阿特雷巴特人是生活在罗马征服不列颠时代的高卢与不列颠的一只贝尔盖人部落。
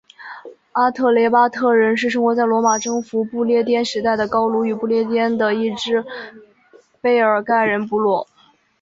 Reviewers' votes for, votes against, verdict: 6, 1, accepted